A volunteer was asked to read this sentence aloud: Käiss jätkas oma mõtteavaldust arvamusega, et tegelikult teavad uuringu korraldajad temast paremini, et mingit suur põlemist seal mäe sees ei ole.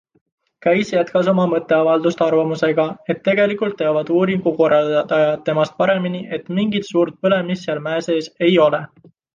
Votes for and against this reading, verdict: 2, 0, accepted